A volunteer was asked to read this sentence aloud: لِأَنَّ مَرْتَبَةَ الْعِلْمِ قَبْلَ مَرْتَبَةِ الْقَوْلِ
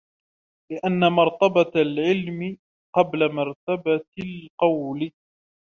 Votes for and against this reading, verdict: 1, 2, rejected